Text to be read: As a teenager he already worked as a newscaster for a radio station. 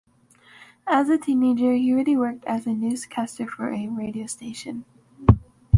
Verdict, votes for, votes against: accepted, 2, 0